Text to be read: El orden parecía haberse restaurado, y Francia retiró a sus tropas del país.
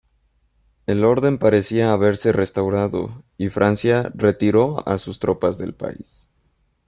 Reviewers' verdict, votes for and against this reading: accepted, 2, 0